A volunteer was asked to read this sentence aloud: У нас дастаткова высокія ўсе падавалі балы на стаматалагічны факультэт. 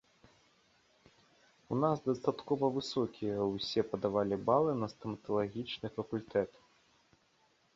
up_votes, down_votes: 1, 2